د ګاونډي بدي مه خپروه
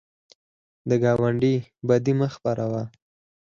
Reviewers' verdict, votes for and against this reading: rejected, 2, 4